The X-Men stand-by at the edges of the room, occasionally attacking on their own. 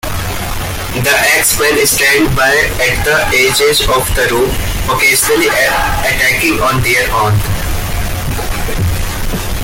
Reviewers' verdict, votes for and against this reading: rejected, 0, 2